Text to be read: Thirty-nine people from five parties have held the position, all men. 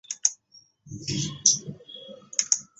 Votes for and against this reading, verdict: 1, 2, rejected